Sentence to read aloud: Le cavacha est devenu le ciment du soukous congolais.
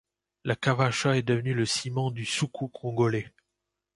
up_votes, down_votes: 0, 2